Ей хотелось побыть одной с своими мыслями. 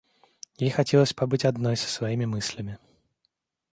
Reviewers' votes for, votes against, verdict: 0, 2, rejected